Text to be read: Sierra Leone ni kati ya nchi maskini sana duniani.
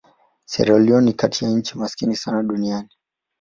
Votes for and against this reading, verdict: 5, 1, accepted